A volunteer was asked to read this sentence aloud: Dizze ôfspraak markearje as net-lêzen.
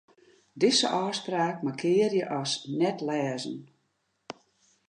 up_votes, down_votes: 2, 0